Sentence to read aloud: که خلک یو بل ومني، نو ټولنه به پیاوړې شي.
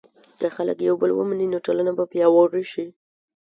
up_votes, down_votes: 2, 0